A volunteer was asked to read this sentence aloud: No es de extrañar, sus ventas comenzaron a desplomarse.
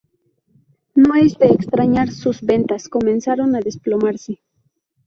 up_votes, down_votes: 2, 0